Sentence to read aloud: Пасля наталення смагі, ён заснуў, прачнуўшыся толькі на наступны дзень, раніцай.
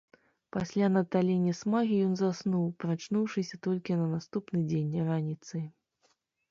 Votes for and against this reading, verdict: 3, 0, accepted